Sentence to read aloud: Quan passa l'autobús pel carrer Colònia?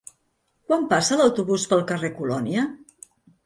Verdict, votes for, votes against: accepted, 4, 0